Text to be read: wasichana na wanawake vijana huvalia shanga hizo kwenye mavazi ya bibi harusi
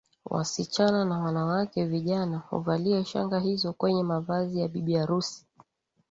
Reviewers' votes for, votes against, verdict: 2, 0, accepted